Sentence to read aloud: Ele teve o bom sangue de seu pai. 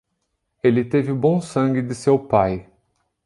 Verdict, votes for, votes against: accepted, 2, 0